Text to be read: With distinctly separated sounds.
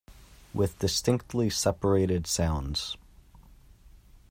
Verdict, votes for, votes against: accepted, 2, 0